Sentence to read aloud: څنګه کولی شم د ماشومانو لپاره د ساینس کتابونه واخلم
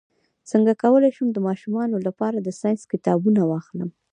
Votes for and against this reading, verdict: 1, 2, rejected